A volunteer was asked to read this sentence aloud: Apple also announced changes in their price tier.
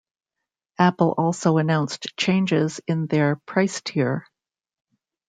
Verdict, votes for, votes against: rejected, 1, 2